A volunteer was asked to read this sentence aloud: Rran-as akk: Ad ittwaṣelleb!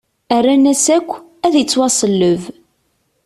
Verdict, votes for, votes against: accepted, 2, 0